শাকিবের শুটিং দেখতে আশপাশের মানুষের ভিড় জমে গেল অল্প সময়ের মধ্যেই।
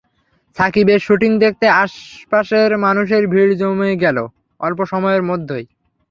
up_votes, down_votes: 0, 3